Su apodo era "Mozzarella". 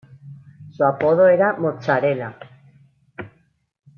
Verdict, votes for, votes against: rejected, 0, 2